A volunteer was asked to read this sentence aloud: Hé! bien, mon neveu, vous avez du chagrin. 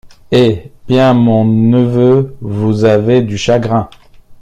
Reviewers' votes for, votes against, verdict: 2, 0, accepted